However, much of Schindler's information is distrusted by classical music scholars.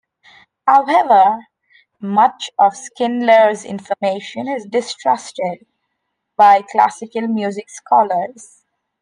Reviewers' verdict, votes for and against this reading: rejected, 1, 2